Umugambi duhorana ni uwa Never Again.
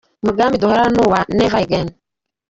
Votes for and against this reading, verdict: 2, 1, accepted